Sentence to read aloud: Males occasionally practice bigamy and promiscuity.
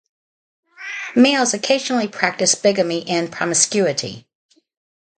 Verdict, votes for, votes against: rejected, 2, 2